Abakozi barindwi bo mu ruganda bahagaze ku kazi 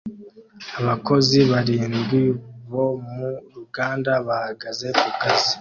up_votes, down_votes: 2, 0